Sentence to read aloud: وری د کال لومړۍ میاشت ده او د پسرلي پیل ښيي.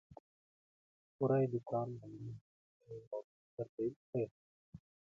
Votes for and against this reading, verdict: 0, 2, rejected